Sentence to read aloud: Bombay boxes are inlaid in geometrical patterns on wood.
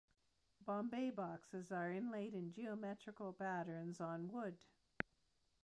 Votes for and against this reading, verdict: 2, 0, accepted